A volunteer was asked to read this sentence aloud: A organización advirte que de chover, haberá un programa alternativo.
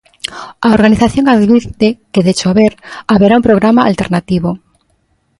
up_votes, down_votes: 2, 0